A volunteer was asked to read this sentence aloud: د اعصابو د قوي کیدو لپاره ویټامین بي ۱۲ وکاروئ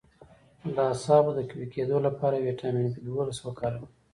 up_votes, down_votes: 0, 2